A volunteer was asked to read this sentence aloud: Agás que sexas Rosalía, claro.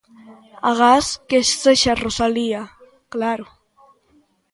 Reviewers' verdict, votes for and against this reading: accepted, 2, 0